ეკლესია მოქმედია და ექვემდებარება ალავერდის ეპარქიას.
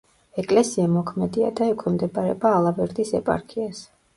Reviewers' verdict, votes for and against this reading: accepted, 2, 1